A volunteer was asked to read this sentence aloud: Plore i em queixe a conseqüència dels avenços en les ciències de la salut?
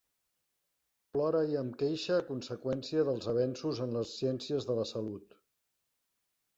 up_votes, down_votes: 0, 2